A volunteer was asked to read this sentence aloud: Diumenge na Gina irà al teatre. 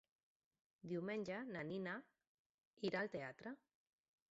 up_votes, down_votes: 0, 2